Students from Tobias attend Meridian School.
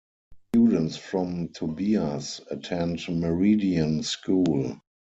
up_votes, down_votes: 0, 4